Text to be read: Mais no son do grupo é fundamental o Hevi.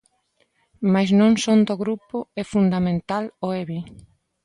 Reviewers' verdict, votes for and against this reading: rejected, 1, 2